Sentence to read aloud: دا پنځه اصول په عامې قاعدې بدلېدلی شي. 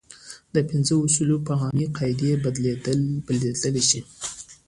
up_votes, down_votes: 2, 0